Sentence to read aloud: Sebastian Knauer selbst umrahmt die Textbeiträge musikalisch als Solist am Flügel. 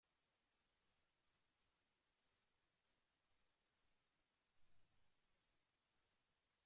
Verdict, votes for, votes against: rejected, 0, 2